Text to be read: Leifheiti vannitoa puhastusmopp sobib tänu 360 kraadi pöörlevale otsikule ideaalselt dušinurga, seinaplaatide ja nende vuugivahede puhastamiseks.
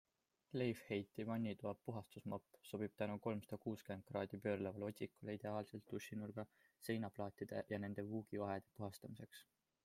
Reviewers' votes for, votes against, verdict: 0, 2, rejected